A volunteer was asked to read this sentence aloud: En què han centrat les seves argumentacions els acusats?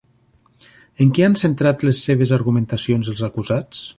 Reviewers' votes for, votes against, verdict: 3, 0, accepted